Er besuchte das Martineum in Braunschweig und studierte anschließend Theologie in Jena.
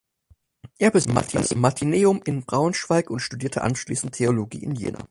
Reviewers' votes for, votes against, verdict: 0, 4, rejected